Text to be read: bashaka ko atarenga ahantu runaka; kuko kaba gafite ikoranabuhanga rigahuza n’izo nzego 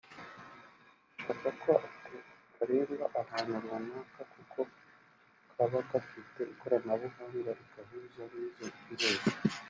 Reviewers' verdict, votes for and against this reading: rejected, 0, 3